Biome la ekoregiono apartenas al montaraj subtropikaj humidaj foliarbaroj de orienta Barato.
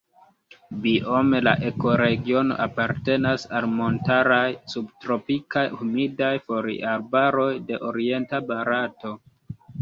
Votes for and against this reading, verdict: 0, 3, rejected